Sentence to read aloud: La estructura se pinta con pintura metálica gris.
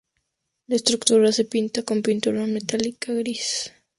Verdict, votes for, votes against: accepted, 2, 0